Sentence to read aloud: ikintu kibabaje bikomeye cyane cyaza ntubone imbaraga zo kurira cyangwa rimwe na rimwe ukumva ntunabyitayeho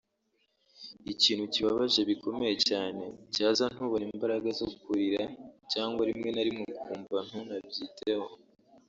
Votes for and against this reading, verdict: 1, 2, rejected